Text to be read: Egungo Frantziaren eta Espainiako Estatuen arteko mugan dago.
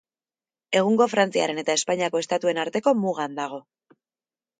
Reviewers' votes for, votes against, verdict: 4, 0, accepted